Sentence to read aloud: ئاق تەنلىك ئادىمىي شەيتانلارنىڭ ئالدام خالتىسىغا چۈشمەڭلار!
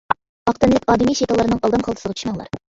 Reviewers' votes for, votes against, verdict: 1, 2, rejected